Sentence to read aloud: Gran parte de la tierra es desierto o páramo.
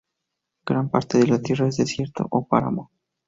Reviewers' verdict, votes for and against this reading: accepted, 2, 0